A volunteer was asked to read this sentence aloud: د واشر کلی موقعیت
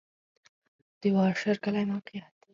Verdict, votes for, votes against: accepted, 4, 0